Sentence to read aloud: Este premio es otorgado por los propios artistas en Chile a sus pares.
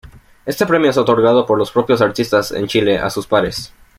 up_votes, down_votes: 2, 0